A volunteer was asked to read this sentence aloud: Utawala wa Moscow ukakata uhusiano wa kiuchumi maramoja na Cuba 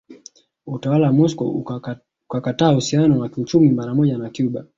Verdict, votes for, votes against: rejected, 2, 3